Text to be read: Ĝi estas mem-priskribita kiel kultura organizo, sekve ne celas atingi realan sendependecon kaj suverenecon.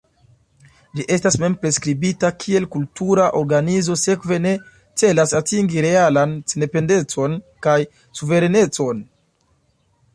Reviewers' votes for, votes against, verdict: 2, 1, accepted